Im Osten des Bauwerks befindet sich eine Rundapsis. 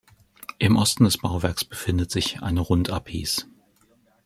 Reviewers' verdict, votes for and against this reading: rejected, 0, 2